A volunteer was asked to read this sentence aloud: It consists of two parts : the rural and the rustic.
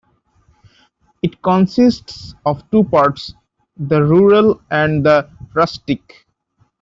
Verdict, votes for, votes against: accepted, 2, 0